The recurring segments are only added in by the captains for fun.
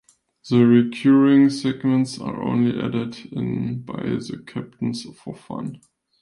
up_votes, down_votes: 2, 1